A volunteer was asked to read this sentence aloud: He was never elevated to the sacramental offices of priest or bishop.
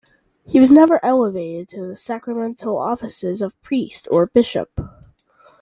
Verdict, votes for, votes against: accepted, 2, 0